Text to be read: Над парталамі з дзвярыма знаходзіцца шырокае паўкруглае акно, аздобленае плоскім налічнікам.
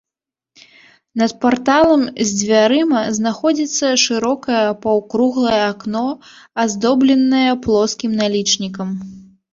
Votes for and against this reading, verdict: 1, 2, rejected